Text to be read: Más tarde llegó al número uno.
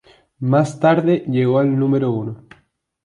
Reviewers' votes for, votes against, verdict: 2, 0, accepted